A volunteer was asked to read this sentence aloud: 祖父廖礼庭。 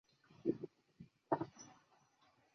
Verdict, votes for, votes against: rejected, 0, 4